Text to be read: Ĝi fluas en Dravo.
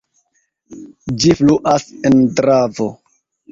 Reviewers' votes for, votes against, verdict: 2, 1, accepted